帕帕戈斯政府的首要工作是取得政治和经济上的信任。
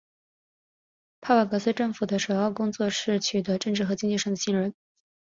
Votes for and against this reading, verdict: 2, 1, accepted